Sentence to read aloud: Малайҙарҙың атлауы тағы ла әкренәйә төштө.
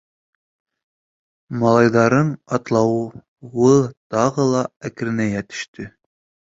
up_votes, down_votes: 0, 4